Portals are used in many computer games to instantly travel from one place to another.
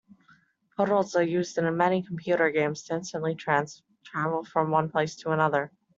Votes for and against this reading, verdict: 0, 2, rejected